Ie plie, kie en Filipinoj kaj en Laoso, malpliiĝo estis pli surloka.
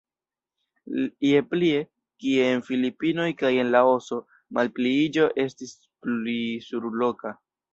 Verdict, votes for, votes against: rejected, 0, 2